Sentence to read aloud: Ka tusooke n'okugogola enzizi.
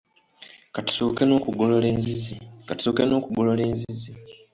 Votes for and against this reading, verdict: 1, 2, rejected